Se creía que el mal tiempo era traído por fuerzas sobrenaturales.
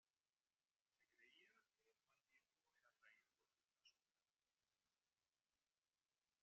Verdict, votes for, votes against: rejected, 0, 2